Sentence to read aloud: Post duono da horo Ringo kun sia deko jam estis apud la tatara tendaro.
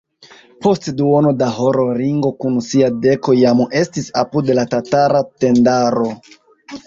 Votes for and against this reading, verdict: 2, 1, accepted